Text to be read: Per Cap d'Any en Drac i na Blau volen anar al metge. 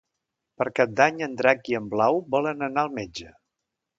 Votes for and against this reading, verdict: 0, 2, rejected